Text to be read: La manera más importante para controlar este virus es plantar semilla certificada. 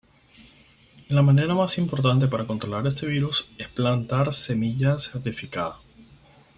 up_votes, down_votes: 4, 0